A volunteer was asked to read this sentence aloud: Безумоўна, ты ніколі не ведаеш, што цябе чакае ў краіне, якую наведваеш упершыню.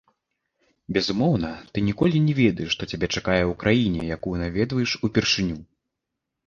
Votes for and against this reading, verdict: 2, 1, accepted